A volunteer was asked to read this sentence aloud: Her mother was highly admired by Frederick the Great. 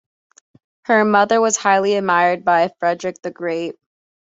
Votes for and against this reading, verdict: 2, 0, accepted